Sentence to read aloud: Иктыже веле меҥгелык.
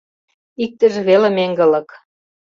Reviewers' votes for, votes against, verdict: 1, 2, rejected